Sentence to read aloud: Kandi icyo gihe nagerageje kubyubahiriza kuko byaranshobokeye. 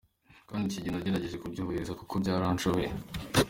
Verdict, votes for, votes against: accepted, 2, 1